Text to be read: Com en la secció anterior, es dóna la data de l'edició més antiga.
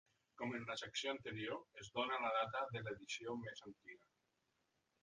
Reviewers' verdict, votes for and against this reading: accepted, 3, 1